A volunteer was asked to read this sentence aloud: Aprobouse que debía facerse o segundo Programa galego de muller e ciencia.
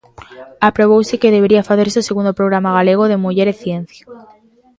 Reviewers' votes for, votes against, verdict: 0, 2, rejected